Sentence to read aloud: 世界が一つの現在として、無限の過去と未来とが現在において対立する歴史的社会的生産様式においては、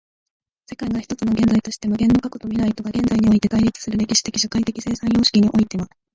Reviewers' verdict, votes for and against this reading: rejected, 0, 2